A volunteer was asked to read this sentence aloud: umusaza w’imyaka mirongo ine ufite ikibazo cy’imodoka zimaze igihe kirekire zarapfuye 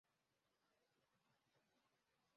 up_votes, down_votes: 0, 2